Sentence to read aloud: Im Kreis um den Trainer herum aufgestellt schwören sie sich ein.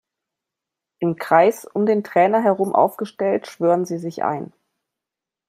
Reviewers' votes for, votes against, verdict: 2, 0, accepted